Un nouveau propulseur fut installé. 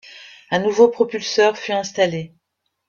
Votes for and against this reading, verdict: 2, 0, accepted